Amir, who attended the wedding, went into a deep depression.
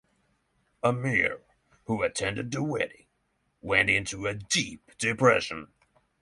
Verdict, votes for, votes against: rejected, 0, 6